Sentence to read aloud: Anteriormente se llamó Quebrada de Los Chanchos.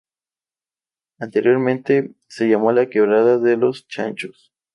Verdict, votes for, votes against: accepted, 2, 0